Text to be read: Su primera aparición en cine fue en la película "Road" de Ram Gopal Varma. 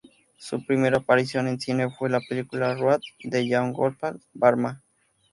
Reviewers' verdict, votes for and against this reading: rejected, 0, 2